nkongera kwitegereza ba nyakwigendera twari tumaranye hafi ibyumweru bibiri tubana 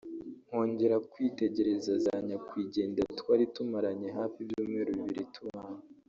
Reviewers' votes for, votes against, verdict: 1, 2, rejected